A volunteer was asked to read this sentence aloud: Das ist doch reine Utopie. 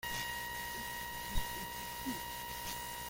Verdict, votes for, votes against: rejected, 0, 2